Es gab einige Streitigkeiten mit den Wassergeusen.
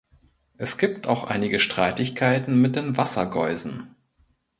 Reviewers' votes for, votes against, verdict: 0, 2, rejected